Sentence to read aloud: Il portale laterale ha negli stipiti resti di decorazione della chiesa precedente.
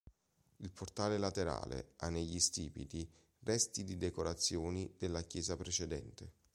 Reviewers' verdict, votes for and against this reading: rejected, 0, 2